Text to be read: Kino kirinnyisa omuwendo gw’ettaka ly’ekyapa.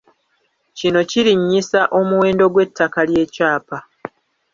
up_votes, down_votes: 1, 2